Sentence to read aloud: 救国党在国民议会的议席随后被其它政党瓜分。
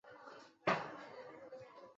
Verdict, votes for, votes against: rejected, 0, 2